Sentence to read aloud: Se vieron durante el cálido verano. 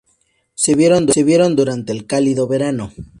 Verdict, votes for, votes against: rejected, 0, 2